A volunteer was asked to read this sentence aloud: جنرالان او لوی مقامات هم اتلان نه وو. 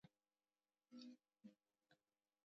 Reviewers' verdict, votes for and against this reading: rejected, 0, 2